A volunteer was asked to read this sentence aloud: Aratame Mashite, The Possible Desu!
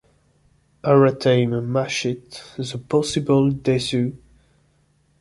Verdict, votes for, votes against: rejected, 0, 2